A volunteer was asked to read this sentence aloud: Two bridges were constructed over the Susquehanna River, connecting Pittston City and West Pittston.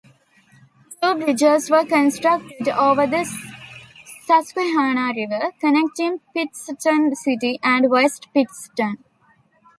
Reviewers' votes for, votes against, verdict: 0, 3, rejected